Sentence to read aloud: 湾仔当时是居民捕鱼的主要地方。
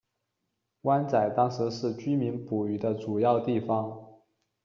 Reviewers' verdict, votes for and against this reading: accepted, 2, 0